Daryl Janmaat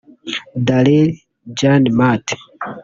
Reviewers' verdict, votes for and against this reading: rejected, 0, 2